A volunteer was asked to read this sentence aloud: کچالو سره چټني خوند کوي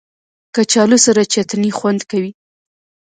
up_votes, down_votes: 2, 0